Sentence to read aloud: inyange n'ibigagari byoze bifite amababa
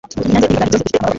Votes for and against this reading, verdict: 1, 2, rejected